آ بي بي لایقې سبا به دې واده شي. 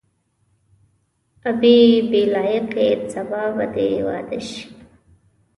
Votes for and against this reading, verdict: 2, 0, accepted